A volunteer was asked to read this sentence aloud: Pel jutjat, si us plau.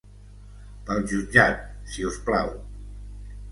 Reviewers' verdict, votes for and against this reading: accepted, 2, 0